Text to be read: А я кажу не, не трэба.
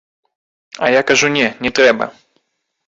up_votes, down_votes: 2, 3